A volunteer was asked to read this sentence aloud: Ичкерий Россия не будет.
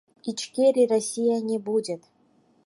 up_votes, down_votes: 2, 4